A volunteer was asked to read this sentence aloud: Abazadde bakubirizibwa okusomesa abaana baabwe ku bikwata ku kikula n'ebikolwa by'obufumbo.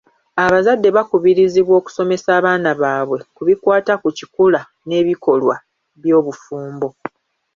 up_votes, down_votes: 2, 0